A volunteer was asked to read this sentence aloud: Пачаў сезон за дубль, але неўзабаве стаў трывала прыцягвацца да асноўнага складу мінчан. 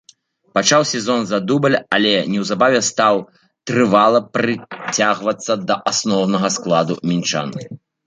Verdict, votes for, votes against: rejected, 1, 2